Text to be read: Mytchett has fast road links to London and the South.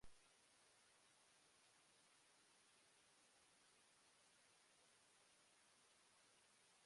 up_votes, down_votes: 0, 2